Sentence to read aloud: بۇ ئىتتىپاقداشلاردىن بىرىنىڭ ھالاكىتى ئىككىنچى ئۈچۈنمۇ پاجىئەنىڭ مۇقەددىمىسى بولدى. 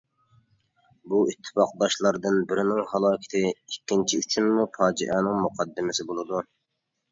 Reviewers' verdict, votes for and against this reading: rejected, 1, 2